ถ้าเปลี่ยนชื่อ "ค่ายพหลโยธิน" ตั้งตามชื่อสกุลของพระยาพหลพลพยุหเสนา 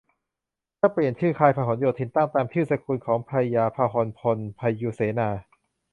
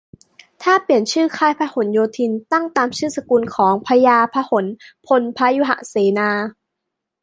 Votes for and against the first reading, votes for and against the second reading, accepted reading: 0, 2, 2, 0, second